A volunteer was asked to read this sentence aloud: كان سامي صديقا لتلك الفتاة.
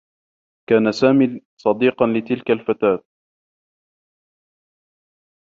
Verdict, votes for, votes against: rejected, 1, 2